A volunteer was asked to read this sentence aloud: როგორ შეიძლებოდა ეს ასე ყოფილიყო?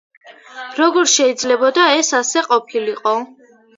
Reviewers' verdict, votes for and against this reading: accepted, 2, 0